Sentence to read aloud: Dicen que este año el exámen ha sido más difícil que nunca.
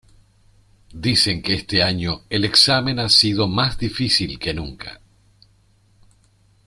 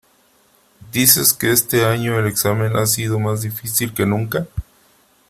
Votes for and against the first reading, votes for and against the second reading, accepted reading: 2, 1, 0, 2, first